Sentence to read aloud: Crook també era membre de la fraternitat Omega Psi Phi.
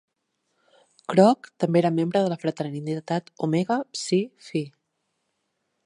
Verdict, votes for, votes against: rejected, 1, 2